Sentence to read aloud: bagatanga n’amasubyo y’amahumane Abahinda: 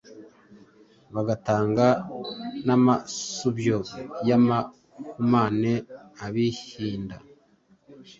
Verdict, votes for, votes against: rejected, 1, 2